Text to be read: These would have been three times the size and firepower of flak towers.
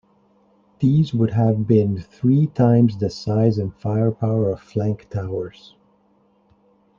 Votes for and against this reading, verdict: 1, 2, rejected